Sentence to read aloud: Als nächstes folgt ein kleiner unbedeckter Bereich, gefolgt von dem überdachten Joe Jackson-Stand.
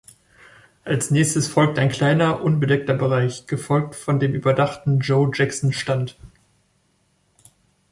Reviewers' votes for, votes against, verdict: 2, 0, accepted